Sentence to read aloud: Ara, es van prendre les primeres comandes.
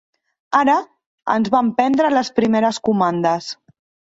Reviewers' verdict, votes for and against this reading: rejected, 1, 2